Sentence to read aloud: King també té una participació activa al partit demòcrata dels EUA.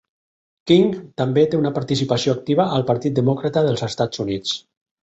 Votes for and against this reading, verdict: 4, 2, accepted